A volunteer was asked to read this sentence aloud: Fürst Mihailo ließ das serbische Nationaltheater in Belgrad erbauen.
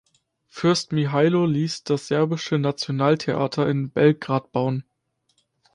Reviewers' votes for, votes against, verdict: 0, 2, rejected